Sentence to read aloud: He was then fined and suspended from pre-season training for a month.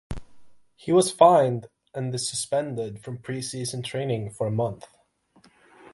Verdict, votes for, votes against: rejected, 0, 6